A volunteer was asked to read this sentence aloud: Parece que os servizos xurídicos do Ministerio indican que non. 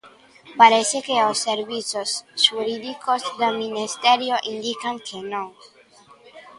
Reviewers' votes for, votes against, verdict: 0, 2, rejected